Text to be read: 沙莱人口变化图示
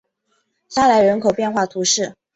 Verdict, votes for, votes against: accepted, 5, 0